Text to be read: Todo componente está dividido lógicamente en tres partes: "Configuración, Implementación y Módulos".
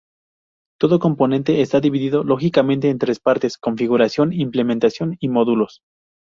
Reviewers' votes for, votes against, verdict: 0, 2, rejected